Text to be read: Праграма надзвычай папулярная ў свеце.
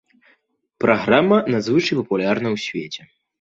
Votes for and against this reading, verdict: 1, 2, rejected